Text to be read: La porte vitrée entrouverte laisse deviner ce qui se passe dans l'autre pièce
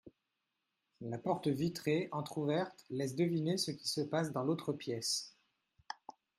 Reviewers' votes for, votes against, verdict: 2, 0, accepted